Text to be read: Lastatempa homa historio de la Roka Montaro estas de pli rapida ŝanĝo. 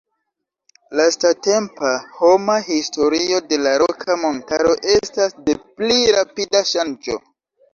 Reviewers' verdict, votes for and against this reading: accepted, 2, 1